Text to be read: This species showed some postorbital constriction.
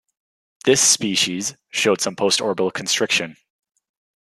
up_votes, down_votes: 2, 0